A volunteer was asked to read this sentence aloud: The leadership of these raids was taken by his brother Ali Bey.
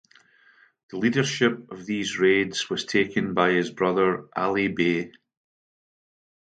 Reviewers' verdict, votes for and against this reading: accepted, 2, 0